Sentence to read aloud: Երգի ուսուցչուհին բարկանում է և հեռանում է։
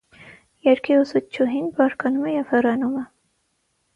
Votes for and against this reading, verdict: 9, 0, accepted